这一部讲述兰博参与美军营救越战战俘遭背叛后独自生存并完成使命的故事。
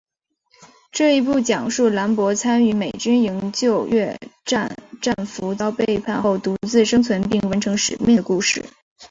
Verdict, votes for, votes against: accepted, 2, 1